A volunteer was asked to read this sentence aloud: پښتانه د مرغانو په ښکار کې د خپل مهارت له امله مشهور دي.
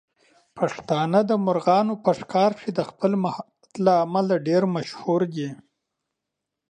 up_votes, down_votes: 1, 2